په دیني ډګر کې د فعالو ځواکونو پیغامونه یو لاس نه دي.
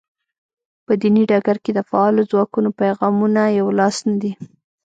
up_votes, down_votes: 2, 0